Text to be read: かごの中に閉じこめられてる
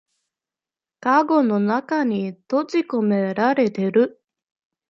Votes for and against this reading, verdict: 2, 0, accepted